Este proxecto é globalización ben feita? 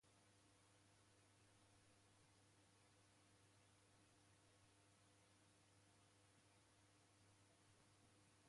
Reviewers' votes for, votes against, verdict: 0, 2, rejected